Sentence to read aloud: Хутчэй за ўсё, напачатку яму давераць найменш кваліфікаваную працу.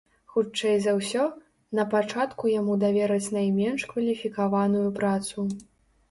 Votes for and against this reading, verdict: 2, 0, accepted